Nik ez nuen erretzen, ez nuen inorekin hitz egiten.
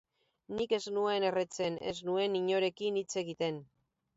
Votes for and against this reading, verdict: 0, 2, rejected